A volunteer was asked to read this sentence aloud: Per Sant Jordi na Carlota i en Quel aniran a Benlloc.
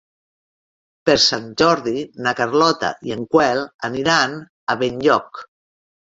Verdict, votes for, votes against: rejected, 1, 3